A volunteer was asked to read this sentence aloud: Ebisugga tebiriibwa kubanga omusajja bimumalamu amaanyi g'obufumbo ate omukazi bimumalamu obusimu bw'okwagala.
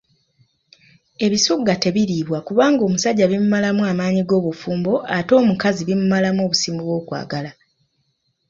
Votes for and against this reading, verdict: 2, 0, accepted